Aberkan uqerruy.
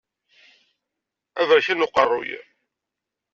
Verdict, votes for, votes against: accepted, 2, 0